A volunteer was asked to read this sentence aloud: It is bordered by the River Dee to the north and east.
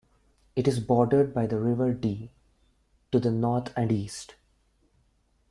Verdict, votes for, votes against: rejected, 0, 2